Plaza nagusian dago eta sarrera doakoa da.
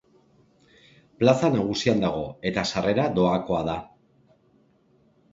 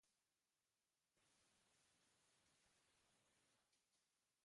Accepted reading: first